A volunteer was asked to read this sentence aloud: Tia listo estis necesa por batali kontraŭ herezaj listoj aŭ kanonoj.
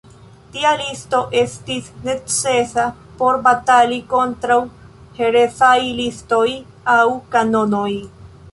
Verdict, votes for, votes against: accepted, 2, 0